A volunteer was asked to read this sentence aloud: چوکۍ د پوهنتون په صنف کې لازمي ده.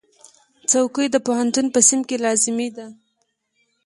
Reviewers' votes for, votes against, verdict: 2, 0, accepted